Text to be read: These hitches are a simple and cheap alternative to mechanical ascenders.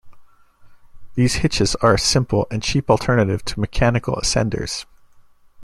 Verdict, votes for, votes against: accepted, 2, 0